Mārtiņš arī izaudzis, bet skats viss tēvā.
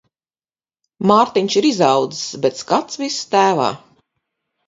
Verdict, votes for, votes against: rejected, 2, 4